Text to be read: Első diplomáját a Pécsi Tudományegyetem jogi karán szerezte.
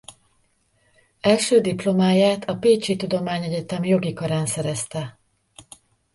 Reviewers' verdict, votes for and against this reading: rejected, 0, 2